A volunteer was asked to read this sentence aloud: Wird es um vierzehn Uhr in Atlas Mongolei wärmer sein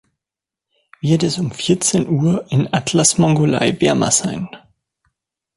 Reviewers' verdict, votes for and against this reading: accepted, 2, 1